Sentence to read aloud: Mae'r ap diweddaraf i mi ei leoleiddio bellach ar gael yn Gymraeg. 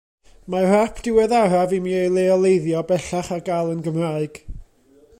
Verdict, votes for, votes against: accepted, 2, 0